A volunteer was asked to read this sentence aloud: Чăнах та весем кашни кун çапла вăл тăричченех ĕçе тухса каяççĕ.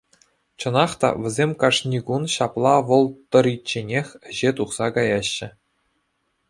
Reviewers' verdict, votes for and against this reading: accepted, 2, 0